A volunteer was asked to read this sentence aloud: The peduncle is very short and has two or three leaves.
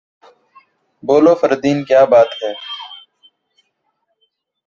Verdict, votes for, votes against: rejected, 0, 2